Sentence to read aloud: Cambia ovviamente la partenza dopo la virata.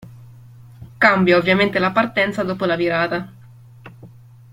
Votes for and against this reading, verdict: 2, 0, accepted